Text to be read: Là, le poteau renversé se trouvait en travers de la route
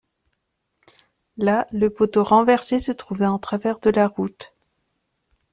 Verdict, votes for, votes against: accepted, 2, 0